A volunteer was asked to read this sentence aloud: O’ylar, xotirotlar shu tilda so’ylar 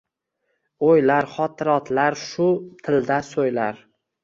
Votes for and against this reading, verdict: 2, 1, accepted